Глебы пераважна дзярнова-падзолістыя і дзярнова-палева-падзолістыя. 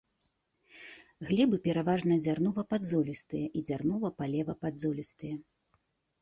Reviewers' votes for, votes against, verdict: 2, 0, accepted